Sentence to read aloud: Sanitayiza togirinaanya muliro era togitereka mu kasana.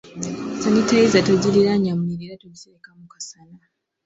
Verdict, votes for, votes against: accepted, 2, 0